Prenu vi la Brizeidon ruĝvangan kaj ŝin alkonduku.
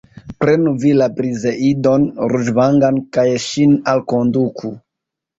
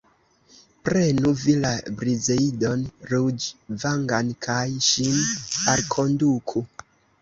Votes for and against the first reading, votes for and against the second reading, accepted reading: 0, 2, 2, 0, second